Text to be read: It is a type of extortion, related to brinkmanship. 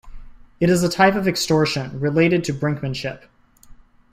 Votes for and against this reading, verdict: 2, 0, accepted